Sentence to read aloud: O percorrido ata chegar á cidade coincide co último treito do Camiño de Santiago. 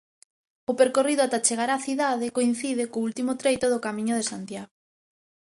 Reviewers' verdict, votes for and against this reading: accepted, 2, 0